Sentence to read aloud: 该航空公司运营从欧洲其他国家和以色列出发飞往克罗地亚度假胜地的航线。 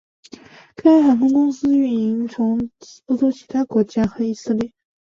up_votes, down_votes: 1, 3